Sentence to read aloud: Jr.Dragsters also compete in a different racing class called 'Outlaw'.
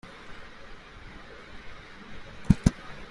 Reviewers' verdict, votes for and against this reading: rejected, 0, 2